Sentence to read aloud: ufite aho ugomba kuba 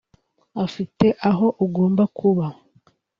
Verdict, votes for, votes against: rejected, 1, 2